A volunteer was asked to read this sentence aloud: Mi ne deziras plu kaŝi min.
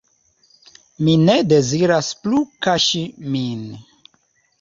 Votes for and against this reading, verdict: 2, 0, accepted